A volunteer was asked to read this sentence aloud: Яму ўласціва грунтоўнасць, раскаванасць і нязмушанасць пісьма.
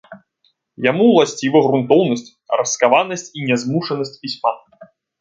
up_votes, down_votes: 2, 0